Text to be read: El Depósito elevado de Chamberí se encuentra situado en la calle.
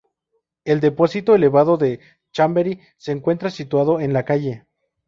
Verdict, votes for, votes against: rejected, 0, 2